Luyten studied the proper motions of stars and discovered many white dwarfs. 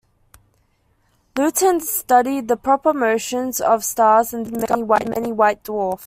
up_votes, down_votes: 1, 2